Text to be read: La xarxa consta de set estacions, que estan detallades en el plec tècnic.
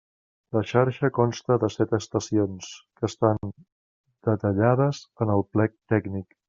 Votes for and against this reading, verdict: 3, 0, accepted